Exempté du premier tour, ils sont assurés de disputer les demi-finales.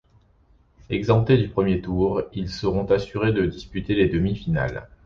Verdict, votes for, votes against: rejected, 1, 2